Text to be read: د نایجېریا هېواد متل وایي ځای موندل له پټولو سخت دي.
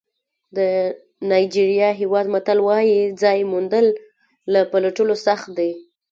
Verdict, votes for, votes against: rejected, 1, 2